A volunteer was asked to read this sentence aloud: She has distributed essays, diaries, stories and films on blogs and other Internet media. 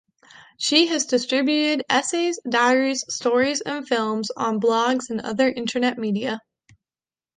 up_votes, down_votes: 2, 1